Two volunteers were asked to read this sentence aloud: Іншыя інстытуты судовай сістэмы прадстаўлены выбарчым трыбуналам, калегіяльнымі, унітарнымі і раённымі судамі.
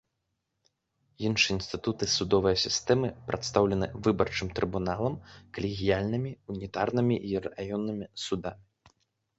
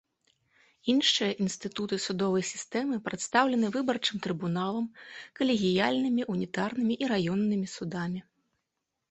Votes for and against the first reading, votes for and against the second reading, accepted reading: 1, 2, 2, 0, second